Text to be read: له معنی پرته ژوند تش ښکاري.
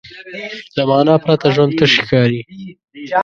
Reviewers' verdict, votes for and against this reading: rejected, 1, 2